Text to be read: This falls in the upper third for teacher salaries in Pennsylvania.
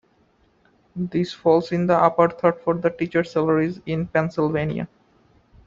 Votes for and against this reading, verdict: 2, 0, accepted